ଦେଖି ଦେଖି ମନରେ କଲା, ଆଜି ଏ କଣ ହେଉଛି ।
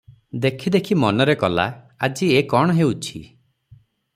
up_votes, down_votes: 6, 0